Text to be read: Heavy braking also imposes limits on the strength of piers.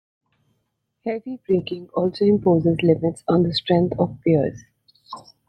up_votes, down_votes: 1, 2